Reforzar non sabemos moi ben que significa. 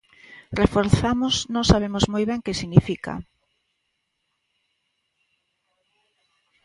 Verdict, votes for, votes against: rejected, 0, 3